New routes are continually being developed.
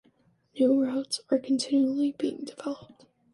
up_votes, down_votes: 2, 0